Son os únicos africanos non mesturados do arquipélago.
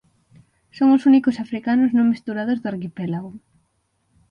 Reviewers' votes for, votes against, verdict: 6, 0, accepted